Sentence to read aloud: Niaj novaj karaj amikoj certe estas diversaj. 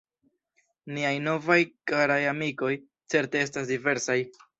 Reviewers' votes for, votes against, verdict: 2, 1, accepted